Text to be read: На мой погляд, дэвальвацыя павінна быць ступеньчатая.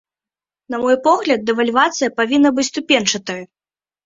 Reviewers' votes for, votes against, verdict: 1, 2, rejected